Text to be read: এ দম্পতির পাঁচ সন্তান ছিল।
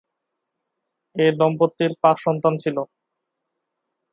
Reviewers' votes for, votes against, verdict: 0, 2, rejected